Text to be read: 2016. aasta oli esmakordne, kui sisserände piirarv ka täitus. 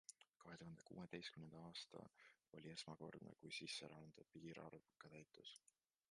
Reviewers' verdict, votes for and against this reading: rejected, 0, 2